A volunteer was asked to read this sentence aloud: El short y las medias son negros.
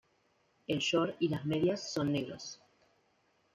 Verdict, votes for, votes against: accepted, 2, 1